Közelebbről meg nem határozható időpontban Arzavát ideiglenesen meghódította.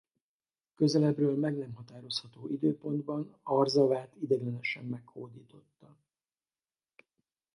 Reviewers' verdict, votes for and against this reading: rejected, 0, 4